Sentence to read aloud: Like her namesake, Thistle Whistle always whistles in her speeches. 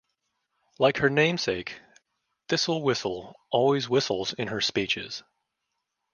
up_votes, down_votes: 2, 0